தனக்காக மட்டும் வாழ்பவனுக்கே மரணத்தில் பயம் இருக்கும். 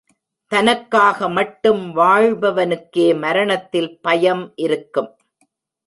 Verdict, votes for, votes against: rejected, 0, 2